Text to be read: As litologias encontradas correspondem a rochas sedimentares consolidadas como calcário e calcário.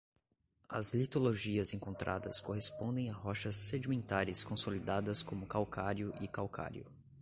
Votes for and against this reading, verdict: 2, 0, accepted